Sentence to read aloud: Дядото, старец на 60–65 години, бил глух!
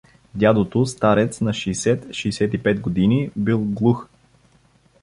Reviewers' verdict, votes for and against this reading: rejected, 0, 2